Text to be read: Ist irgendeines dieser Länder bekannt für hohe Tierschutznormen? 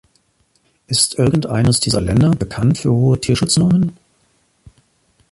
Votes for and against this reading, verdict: 2, 0, accepted